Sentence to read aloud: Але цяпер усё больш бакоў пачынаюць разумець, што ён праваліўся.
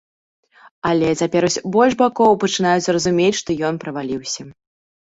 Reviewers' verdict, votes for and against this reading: rejected, 1, 2